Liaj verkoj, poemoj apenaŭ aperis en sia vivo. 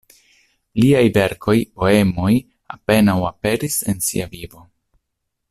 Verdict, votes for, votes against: accepted, 2, 0